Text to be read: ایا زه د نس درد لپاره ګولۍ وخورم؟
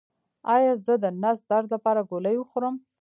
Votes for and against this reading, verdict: 1, 2, rejected